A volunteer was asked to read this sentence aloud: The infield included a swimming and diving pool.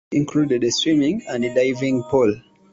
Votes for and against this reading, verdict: 1, 2, rejected